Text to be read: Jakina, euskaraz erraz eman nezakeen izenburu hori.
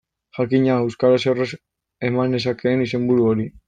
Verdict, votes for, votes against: rejected, 0, 2